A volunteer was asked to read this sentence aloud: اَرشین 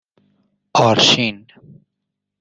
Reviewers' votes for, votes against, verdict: 1, 2, rejected